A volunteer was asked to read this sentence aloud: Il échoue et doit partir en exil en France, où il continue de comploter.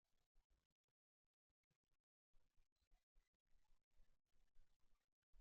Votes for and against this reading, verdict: 0, 2, rejected